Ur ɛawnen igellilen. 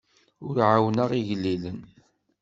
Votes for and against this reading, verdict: 1, 2, rejected